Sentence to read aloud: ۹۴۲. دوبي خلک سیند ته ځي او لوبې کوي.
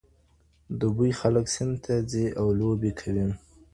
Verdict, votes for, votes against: rejected, 0, 2